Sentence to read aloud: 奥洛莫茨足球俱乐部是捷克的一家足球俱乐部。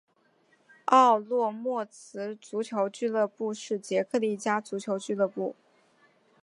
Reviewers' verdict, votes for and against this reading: accepted, 4, 0